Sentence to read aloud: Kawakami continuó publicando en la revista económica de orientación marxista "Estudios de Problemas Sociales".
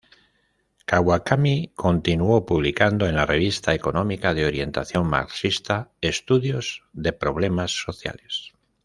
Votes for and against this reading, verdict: 2, 0, accepted